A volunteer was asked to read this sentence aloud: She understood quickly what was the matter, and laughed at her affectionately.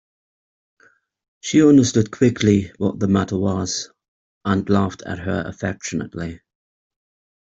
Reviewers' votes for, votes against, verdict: 0, 2, rejected